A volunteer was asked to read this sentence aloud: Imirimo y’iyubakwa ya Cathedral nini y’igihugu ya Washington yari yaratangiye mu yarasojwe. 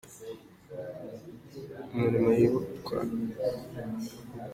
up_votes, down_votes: 0, 2